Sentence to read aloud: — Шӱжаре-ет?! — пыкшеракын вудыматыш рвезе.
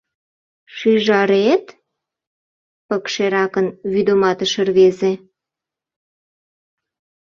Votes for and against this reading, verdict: 0, 2, rejected